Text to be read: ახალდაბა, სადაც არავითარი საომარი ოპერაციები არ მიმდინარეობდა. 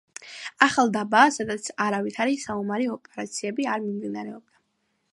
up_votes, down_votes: 2, 0